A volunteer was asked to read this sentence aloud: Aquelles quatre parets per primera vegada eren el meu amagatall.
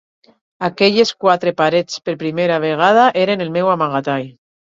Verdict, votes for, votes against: accepted, 4, 0